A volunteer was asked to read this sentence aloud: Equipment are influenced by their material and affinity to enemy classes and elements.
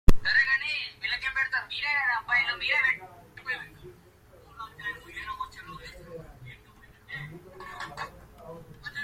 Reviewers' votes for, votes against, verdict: 0, 2, rejected